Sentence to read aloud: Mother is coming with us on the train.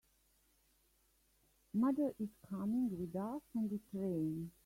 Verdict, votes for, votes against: accepted, 2, 1